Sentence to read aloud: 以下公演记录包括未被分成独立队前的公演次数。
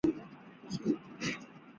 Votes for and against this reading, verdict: 0, 2, rejected